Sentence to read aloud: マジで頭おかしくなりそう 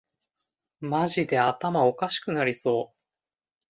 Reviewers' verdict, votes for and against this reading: accepted, 2, 0